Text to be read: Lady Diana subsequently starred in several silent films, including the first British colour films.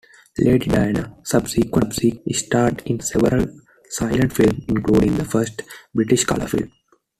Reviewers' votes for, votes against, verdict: 2, 1, accepted